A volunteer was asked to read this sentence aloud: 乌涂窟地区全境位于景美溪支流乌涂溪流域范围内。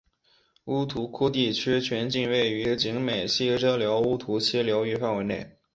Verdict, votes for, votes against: accepted, 6, 0